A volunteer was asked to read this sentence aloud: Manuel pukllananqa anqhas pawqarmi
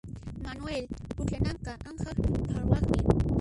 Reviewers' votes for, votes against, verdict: 1, 2, rejected